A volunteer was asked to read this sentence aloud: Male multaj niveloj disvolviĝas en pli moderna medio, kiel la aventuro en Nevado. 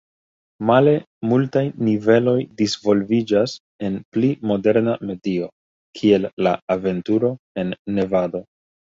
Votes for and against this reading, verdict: 2, 0, accepted